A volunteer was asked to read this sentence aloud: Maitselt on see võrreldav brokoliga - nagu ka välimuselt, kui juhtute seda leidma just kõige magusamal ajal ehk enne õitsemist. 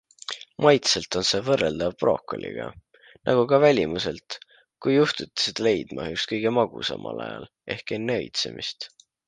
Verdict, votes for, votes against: accepted, 2, 1